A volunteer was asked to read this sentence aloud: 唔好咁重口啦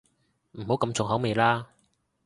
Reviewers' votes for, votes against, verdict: 0, 2, rejected